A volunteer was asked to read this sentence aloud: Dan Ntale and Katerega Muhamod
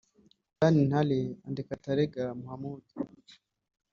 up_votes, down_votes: 1, 2